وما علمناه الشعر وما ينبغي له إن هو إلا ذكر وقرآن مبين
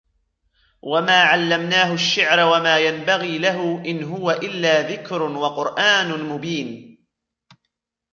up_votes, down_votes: 1, 2